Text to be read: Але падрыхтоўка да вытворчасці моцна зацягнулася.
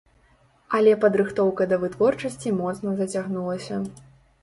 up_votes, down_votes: 2, 0